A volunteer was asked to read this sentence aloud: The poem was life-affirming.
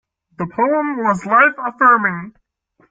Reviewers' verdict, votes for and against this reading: accepted, 2, 1